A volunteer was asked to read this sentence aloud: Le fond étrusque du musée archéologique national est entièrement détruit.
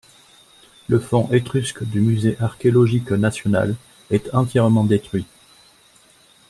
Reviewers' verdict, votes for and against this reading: accepted, 2, 1